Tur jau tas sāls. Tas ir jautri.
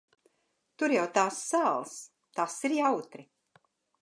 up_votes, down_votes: 0, 2